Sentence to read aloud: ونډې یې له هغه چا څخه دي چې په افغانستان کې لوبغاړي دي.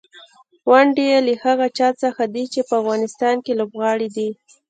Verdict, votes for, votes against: rejected, 0, 2